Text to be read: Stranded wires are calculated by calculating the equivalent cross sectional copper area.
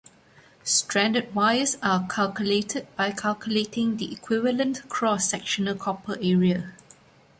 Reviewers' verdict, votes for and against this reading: accepted, 2, 0